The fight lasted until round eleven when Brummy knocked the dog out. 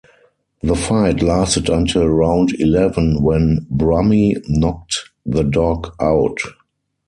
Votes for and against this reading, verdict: 4, 0, accepted